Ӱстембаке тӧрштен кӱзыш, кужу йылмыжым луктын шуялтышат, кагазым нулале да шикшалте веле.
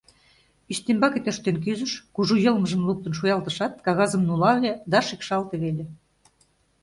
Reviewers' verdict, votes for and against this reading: accepted, 2, 0